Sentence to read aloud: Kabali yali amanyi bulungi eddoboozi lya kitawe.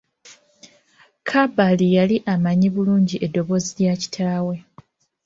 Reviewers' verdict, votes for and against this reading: rejected, 0, 2